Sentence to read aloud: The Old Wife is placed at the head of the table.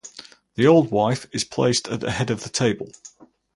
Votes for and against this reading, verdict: 4, 0, accepted